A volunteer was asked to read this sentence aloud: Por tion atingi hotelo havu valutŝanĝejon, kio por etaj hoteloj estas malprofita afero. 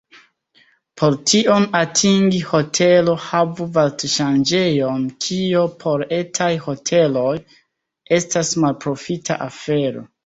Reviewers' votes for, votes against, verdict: 1, 2, rejected